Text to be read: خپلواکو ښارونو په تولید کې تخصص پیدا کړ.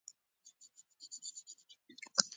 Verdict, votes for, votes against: rejected, 0, 2